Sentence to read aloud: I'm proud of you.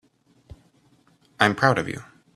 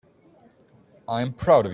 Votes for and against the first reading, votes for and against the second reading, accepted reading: 2, 0, 0, 2, first